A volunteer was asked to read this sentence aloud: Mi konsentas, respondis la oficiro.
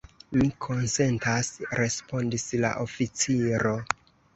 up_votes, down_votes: 0, 2